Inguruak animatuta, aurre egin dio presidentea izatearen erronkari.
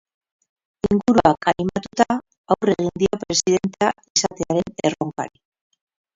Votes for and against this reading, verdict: 2, 4, rejected